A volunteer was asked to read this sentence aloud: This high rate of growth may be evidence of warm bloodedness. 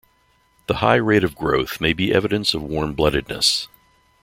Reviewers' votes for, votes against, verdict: 1, 2, rejected